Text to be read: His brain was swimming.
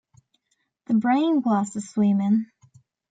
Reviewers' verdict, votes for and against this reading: accepted, 2, 0